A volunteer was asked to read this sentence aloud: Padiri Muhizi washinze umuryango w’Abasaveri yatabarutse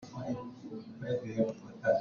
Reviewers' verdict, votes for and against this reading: rejected, 0, 2